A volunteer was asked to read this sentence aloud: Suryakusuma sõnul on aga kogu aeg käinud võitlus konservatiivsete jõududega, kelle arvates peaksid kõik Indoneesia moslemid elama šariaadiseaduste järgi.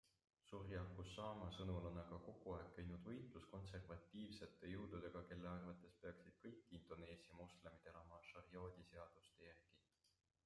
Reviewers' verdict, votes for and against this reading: rejected, 1, 2